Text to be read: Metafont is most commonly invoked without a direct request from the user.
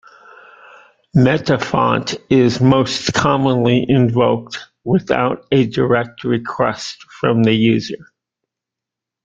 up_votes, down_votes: 2, 1